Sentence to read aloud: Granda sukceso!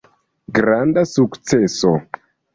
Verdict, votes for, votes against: rejected, 0, 2